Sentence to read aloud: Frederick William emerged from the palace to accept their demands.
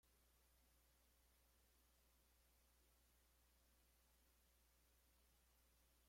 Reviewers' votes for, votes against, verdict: 0, 2, rejected